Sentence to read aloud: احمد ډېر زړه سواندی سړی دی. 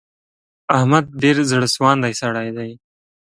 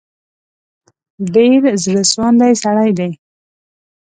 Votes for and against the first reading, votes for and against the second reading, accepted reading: 2, 0, 1, 2, first